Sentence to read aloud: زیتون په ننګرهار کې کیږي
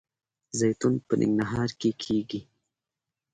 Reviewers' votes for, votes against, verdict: 2, 0, accepted